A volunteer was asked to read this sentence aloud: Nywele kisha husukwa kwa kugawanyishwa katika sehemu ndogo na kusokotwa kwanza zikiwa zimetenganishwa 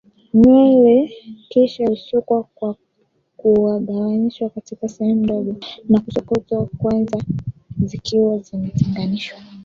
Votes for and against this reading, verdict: 1, 3, rejected